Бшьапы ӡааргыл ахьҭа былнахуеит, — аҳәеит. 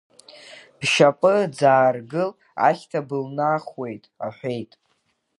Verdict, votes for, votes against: rejected, 0, 2